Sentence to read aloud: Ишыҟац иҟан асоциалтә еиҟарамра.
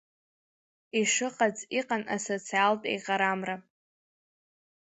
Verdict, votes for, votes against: accepted, 2, 1